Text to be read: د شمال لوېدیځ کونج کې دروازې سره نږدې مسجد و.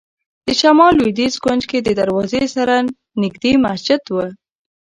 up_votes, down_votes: 1, 2